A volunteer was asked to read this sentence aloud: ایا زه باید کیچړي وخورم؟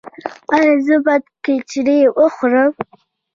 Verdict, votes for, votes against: accepted, 2, 0